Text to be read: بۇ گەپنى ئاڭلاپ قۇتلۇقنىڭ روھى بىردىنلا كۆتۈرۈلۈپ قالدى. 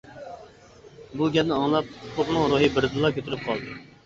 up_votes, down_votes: 1, 2